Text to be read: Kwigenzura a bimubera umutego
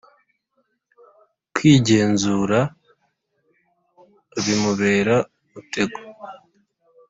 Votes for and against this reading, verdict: 2, 0, accepted